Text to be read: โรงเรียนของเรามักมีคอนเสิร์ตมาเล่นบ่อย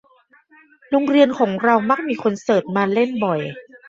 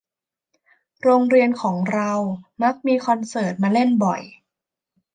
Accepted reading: second